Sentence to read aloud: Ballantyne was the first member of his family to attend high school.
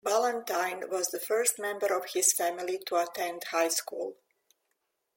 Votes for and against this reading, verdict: 3, 0, accepted